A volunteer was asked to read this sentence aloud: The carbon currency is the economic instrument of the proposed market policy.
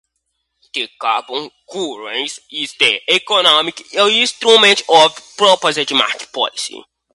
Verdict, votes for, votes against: rejected, 0, 2